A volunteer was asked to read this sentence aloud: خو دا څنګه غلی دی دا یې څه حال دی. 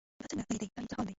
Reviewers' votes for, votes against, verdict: 1, 2, rejected